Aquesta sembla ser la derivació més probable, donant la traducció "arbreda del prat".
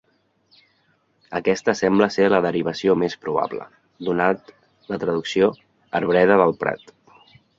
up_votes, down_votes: 0, 2